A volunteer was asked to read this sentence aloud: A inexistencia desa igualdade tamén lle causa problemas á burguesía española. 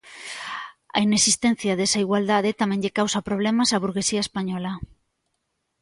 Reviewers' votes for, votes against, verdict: 2, 0, accepted